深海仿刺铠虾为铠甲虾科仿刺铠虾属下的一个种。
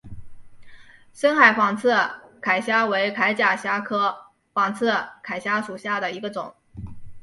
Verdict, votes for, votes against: accepted, 2, 0